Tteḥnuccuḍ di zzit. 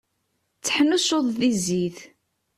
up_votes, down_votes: 2, 0